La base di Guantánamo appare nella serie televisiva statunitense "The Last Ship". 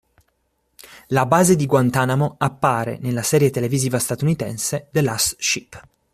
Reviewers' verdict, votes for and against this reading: accepted, 2, 0